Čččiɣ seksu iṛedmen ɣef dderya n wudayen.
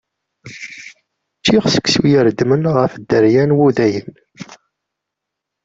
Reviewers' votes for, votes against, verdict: 1, 2, rejected